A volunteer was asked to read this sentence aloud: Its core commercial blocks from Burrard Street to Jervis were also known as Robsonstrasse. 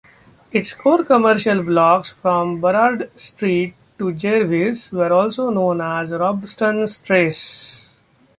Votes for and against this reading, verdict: 0, 2, rejected